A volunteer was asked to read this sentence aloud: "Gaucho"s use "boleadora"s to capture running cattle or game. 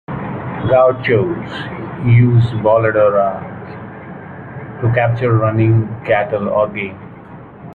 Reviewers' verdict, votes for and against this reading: rejected, 1, 2